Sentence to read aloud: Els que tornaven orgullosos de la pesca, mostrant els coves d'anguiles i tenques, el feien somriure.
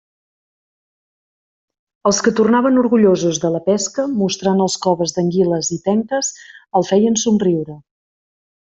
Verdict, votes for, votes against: accepted, 2, 0